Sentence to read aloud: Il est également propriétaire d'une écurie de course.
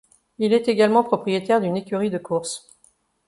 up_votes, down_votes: 2, 0